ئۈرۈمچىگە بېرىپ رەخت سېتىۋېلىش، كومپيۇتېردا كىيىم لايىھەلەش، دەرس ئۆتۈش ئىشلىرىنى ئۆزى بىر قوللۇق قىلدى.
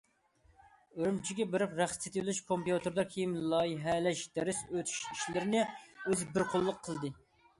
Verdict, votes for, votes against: accepted, 2, 0